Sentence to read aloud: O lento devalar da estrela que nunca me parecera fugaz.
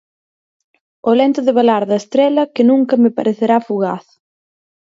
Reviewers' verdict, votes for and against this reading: rejected, 0, 4